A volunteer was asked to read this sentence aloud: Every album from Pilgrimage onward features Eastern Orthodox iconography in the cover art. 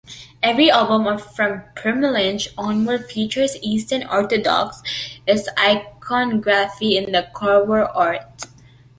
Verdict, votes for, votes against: rejected, 1, 2